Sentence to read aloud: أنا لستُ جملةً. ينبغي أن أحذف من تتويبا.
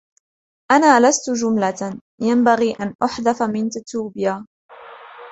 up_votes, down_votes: 2, 0